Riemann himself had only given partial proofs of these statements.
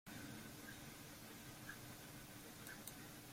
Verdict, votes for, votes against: rejected, 0, 2